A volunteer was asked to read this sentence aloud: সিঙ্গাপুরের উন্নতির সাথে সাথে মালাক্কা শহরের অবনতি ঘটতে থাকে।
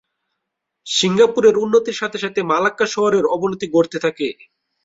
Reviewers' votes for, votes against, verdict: 2, 2, rejected